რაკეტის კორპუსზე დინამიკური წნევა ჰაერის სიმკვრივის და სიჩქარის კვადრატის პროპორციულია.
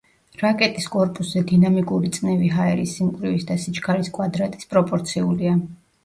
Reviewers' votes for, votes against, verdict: 0, 2, rejected